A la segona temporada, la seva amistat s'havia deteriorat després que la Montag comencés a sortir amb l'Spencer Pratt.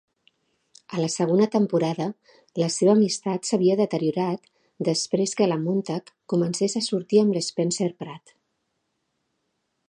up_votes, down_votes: 2, 0